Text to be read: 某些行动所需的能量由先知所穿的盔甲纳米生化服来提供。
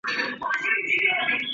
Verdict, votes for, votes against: rejected, 0, 3